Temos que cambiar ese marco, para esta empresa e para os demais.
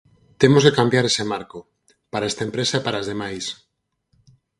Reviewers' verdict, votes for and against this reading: rejected, 0, 4